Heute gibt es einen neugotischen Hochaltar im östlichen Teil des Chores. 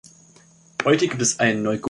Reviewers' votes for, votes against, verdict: 0, 2, rejected